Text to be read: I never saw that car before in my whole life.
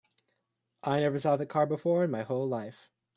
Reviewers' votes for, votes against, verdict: 2, 1, accepted